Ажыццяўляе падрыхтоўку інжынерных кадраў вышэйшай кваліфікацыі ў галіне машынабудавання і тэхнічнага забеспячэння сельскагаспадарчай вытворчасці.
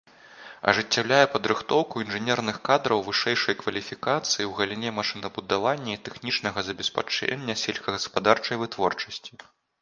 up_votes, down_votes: 1, 2